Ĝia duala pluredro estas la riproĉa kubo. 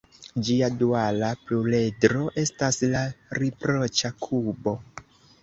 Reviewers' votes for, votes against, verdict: 0, 2, rejected